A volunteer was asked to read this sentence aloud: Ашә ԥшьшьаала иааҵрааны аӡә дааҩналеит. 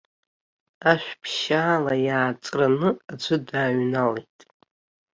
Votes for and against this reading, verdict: 0, 2, rejected